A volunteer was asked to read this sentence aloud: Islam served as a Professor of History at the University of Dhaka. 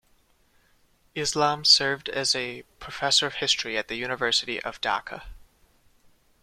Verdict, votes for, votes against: rejected, 1, 2